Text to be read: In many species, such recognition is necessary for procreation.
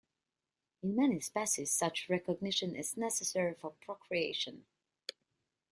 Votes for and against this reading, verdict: 1, 2, rejected